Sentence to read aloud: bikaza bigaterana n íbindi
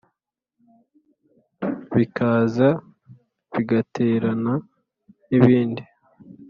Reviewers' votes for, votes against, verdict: 2, 0, accepted